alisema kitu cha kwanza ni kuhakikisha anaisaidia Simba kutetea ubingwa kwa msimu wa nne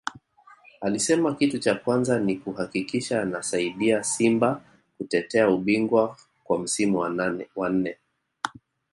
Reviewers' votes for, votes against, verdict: 1, 2, rejected